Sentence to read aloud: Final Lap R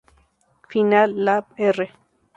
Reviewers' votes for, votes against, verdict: 2, 0, accepted